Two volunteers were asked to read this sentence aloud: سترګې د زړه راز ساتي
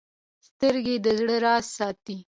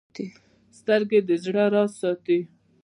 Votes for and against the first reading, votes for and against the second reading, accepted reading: 2, 1, 1, 2, first